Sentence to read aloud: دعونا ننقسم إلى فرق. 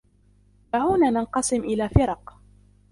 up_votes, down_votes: 0, 2